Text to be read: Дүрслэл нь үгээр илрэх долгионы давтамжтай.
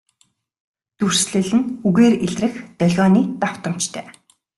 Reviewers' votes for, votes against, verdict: 2, 0, accepted